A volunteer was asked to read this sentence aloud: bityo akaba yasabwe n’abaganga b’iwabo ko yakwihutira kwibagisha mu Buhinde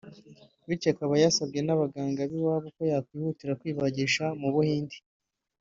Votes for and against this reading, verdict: 2, 0, accepted